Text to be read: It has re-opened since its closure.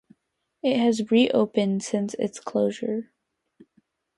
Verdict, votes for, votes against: accepted, 2, 0